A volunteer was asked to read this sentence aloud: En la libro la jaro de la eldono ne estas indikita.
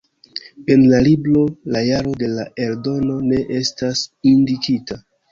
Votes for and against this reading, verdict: 0, 2, rejected